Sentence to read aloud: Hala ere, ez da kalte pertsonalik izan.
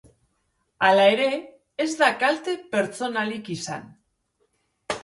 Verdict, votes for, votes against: accepted, 2, 0